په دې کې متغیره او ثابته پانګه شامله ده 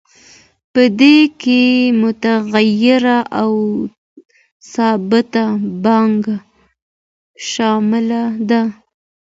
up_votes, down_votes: 2, 0